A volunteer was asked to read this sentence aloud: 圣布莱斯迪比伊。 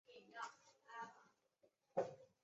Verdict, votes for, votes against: rejected, 0, 2